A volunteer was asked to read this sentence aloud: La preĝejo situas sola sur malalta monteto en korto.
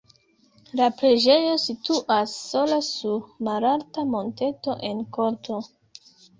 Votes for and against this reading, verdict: 2, 0, accepted